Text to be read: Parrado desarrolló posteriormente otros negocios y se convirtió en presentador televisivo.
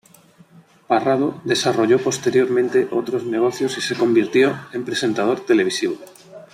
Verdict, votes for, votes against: rejected, 1, 2